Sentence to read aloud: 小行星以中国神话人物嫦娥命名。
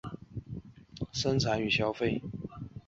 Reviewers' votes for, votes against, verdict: 0, 5, rejected